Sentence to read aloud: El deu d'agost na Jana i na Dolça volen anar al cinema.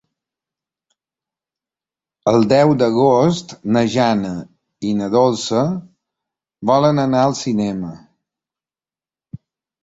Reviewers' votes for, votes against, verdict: 3, 0, accepted